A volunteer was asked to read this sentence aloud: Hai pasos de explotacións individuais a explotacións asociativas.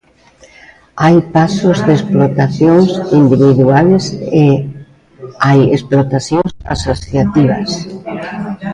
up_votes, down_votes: 0, 2